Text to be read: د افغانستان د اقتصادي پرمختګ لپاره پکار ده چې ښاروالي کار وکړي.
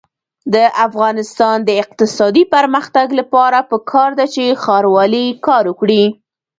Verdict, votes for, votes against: accepted, 2, 0